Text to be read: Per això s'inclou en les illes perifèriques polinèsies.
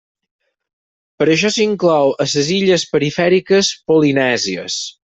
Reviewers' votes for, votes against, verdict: 2, 4, rejected